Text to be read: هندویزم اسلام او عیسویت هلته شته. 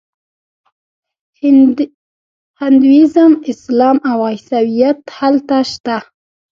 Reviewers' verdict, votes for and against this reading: rejected, 1, 2